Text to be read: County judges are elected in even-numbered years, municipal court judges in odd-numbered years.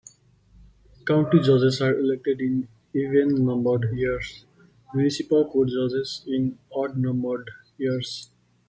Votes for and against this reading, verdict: 1, 2, rejected